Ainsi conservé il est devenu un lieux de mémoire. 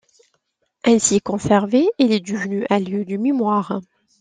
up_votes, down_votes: 1, 2